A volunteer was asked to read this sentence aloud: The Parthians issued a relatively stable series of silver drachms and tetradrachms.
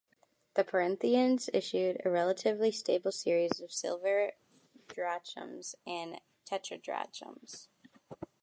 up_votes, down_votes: 1, 2